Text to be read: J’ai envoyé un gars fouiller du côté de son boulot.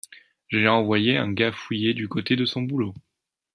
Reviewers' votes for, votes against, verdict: 2, 0, accepted